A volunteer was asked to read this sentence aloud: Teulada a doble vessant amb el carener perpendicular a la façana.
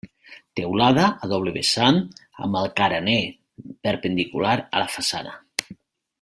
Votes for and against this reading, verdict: 2, 0, accepted